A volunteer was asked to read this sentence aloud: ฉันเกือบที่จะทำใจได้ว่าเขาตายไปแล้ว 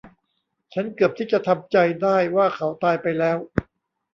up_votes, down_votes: 2, 0